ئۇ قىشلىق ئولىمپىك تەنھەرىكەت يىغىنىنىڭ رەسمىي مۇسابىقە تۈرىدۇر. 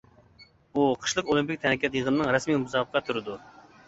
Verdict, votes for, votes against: rejected, 1, 2